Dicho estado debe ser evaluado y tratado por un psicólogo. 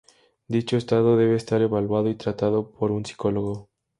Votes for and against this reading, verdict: 0, 2, rejected